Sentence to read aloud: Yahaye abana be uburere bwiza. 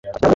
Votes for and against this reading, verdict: 0, 2, rejected